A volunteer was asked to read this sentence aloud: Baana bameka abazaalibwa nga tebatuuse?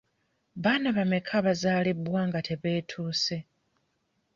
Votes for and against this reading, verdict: 0, 2, rejected